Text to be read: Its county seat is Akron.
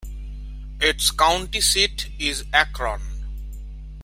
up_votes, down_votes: 0, 2